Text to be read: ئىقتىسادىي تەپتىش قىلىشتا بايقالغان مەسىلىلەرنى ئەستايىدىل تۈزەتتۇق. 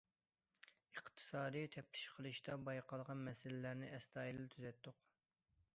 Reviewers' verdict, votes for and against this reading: accepted, 2, 0